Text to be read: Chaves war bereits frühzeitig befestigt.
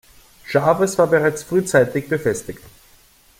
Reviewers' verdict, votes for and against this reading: accepted, 2, 0